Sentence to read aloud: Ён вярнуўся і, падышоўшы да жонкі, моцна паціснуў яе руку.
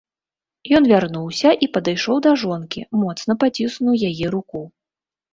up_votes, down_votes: 0, 2